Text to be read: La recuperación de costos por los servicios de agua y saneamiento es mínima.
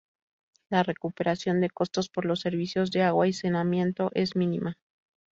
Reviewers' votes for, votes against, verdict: 0, 4, rejected